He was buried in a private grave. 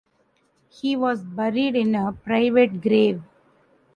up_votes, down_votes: 2, 1